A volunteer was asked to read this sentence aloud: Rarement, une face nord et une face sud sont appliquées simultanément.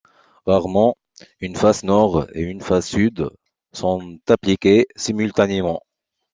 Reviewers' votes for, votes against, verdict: 2, 1, accepted